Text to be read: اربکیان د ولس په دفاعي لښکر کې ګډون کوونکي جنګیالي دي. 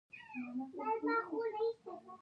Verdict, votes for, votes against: rejected, 1, 2